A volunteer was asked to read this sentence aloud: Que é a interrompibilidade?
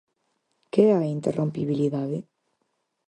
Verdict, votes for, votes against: accepted, 4, 0